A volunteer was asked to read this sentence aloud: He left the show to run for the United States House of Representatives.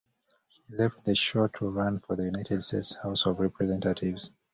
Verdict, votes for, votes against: rejected, 1, 2